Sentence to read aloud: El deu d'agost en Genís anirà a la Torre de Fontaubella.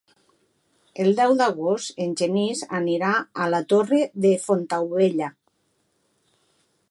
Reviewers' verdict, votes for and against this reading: accepted, 3, 0